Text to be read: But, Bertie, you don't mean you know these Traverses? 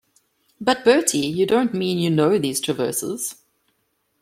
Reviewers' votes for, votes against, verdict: 2, 0, accepted